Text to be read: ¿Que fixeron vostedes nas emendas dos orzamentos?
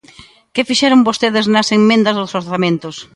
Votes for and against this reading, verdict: 1, 2, rejected